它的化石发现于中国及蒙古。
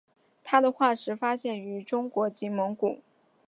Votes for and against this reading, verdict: 9, 0, accepted